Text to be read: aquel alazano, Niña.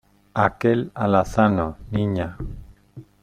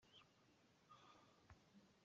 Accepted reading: first